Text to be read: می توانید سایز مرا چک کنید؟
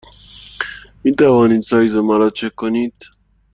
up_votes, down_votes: 2, 0